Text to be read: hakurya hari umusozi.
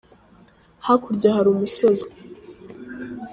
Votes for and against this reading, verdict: 2, 0, accepted